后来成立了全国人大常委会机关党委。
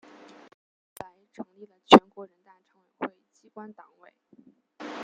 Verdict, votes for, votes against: rejected, 0, 2